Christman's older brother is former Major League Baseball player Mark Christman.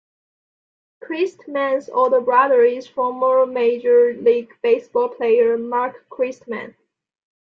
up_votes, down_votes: 2, 0